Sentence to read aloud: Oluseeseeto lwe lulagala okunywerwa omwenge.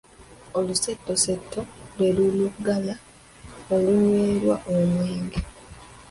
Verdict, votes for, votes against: rejected, 0, 2